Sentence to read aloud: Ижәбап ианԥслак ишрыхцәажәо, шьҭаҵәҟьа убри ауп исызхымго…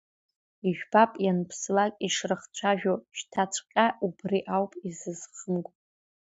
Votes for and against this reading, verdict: 1, 2, rejected